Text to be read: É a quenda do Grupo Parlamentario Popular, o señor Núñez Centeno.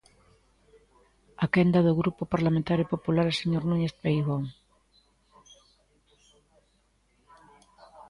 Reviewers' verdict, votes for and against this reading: rejected, 1, 2